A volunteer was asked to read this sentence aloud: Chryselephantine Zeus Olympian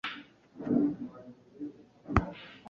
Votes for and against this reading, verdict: 1, 2, rejected